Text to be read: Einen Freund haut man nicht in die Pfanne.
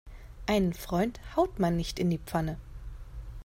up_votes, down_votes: 2, 0